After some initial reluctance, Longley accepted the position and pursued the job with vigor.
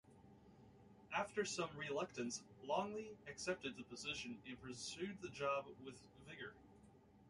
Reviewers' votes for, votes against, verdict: 0, 2, rejected